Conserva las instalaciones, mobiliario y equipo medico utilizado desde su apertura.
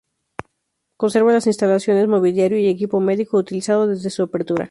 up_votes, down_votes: 0, 2